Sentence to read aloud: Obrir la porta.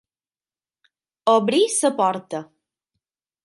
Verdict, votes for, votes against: rejected, 6, 9